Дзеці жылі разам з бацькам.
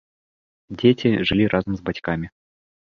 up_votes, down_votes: 1, 2